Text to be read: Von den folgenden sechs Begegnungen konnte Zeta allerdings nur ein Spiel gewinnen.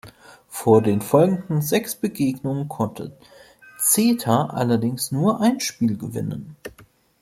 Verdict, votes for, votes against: rejected, 1, 2